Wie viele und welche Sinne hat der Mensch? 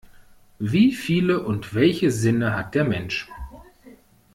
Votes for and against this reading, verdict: 2, 1, accepted